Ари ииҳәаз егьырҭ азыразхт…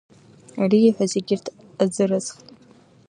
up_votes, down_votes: 2, 1